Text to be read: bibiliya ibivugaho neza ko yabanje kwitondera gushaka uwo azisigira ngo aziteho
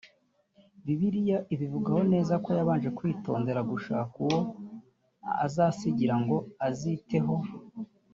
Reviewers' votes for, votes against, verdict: 0, 2, rejected